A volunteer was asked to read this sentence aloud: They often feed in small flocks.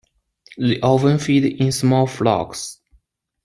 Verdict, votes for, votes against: accepted, 2, 0